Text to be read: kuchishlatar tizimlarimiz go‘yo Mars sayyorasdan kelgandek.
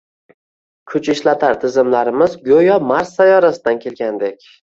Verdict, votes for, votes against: rejected, 1, 2